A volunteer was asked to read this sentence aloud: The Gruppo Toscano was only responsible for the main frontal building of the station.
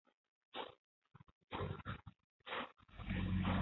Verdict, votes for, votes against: rejected, 0, 2